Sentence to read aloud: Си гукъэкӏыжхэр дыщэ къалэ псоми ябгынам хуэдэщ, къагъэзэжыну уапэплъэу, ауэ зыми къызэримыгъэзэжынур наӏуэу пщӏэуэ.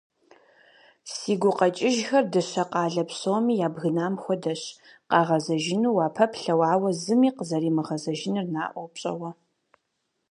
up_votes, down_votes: 4, 0